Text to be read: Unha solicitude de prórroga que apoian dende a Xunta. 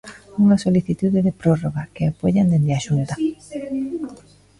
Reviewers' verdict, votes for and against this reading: rejected, 1, 2